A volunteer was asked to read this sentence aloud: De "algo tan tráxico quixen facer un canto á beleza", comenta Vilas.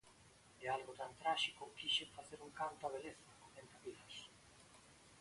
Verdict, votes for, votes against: rejected, 0, 2